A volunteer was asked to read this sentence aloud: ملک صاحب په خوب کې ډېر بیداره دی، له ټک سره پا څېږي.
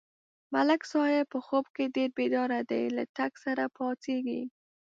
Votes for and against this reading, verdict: 2, 0, accepted